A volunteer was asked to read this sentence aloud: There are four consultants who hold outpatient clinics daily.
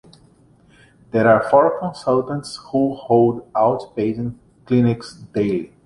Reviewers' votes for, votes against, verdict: 3, 2, accepted